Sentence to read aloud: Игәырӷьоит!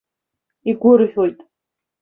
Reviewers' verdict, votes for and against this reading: accepted, 2, 0